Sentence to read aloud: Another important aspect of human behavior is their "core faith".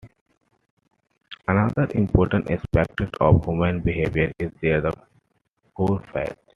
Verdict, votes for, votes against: accepted, 2, 0